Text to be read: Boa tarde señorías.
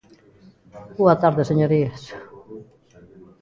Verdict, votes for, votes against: rejected, 1, 2